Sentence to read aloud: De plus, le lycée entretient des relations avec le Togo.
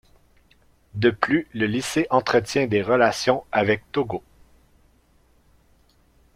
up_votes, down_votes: 0, 2